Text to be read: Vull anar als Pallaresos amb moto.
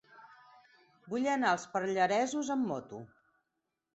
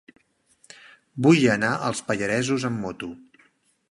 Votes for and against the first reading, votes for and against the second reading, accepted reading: 0, 4, 2, 0, second